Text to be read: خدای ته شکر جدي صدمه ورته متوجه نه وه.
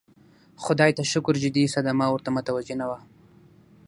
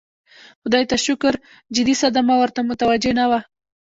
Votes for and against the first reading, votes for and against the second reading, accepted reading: 6, 0, 1, 2, first